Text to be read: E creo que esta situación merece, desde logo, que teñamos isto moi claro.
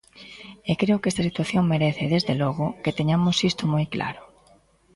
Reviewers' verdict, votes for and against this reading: accepted, 2, 0